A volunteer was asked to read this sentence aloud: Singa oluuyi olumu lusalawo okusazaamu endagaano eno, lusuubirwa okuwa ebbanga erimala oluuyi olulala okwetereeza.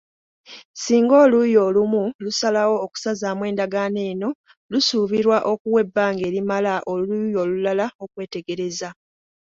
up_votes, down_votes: 2, 4